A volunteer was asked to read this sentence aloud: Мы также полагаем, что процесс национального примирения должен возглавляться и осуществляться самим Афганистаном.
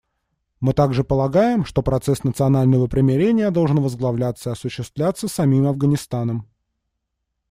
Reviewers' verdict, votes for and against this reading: accepted, 2, 0